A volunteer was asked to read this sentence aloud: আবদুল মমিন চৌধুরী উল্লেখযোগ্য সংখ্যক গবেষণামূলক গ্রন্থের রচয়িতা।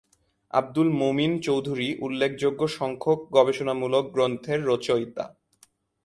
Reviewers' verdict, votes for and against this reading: accepted, 2, 0